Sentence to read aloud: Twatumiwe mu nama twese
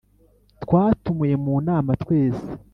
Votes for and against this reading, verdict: 2, 0, accepted